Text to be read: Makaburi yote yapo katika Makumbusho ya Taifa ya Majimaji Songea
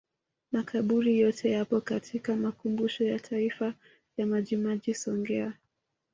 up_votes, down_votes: 2, 0